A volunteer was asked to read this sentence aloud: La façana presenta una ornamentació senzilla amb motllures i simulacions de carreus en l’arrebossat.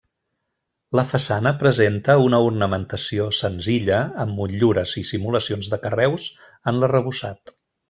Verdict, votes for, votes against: accepted, 3, 1